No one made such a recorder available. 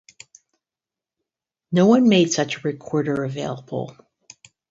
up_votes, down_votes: 2, 2